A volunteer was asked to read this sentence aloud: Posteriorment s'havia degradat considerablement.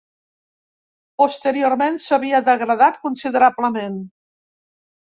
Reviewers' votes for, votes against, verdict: 2, 0, accepted